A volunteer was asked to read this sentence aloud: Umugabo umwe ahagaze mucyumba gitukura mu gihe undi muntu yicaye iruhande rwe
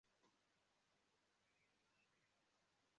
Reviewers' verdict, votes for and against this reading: rejected, 0, 2